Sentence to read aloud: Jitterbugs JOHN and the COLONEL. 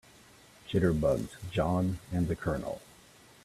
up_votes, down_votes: 2, 0